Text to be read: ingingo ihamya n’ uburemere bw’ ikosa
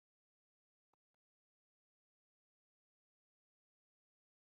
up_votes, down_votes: 1, 3